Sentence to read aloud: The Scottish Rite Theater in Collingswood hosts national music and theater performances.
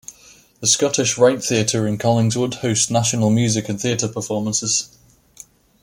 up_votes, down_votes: 2, 1